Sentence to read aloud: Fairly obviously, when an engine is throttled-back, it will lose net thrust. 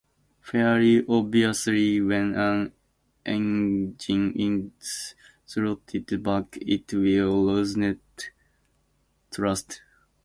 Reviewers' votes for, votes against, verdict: 0, 2, rejected